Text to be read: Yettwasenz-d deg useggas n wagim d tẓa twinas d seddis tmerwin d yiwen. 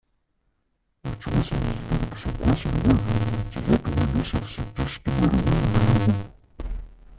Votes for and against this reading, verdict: 0, 2, rejected